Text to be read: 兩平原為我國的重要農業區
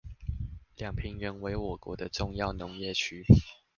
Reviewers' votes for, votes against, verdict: 2, 0, accepted